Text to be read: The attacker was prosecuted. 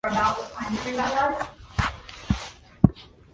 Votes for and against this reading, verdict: 0, 2, rejected